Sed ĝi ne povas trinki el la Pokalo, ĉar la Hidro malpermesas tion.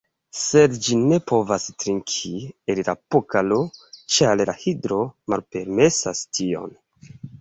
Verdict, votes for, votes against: accepted, 2, 1